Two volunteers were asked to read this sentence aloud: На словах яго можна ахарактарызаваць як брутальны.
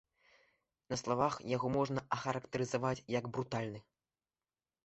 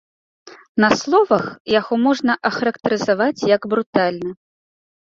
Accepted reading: second